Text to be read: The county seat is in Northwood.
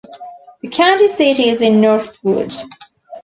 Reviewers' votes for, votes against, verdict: 0, 2, rejected